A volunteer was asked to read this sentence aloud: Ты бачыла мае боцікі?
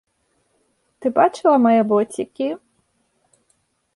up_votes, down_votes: 2, 0